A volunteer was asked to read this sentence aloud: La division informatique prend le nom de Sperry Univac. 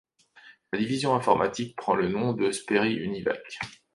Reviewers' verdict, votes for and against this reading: rejected, 1, 2